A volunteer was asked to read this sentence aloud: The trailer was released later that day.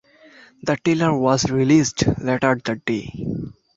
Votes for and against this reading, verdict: 1, 2, rejected